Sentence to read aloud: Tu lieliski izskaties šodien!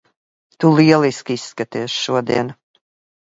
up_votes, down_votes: 2, 0